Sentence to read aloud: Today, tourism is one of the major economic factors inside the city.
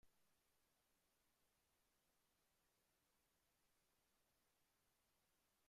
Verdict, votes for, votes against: rejected, 0, 2